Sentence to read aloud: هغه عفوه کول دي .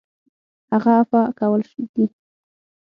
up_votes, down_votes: 3, 6